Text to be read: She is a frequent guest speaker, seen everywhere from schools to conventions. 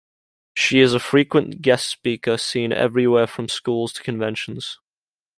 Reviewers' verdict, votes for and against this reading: accepted, 2, 0